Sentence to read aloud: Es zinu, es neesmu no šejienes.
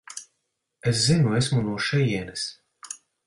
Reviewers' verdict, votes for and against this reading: rejected, 0, 6